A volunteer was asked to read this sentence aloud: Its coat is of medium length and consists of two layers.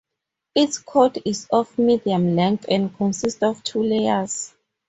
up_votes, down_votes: 0, 2